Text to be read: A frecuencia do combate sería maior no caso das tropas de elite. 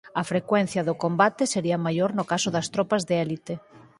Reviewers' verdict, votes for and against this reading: rejected, 2, 4